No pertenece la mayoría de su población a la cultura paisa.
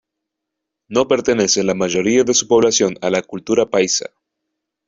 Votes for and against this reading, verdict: 2, 0, accepted